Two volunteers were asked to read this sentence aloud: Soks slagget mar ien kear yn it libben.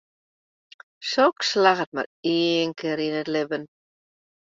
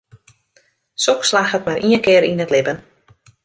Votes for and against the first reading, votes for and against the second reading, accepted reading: 1, 2, 2, 0, second